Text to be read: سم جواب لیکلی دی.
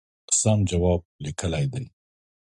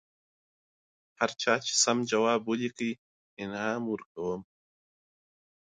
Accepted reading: first